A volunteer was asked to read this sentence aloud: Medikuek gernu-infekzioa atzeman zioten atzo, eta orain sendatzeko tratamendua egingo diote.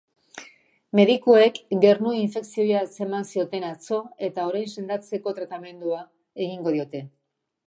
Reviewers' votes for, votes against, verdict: 2, 1, accepted